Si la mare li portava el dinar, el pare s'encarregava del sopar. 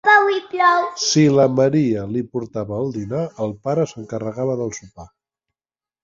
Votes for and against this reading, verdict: 0, 2, rejected